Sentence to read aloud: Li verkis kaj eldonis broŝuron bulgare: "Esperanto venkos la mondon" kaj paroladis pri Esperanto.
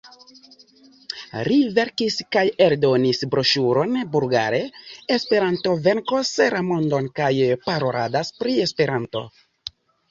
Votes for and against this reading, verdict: 1, 2, rejected